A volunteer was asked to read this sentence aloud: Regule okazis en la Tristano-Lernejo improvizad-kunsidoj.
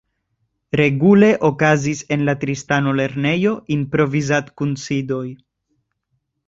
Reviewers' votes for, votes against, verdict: 2, 0, accepted